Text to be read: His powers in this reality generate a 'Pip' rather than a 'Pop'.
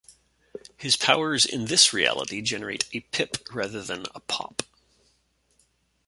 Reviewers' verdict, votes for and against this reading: accepted, 2, 0